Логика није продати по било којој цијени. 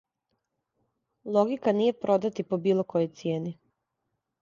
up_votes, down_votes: 2, 0